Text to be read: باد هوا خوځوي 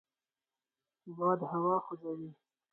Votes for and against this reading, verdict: 4, 0, accepted